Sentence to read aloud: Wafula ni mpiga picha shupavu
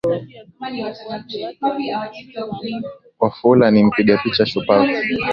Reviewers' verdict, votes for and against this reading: rejected, 0, 3